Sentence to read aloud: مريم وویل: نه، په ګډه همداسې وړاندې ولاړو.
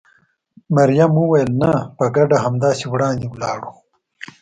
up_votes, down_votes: 2, 0